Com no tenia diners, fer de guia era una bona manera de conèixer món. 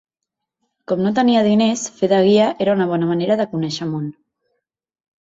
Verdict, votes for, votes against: accepted, 3, 0